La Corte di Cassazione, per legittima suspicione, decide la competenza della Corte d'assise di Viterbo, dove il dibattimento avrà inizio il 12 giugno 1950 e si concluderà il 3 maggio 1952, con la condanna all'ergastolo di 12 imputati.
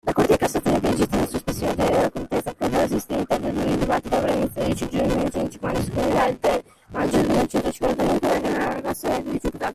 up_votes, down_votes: 0, 2